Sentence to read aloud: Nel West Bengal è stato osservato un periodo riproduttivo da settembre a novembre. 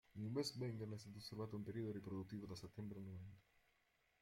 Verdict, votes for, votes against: rejected, 0, 2